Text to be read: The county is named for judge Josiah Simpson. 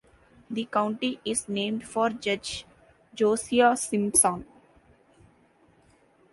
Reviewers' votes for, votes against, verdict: 1, 2, rejected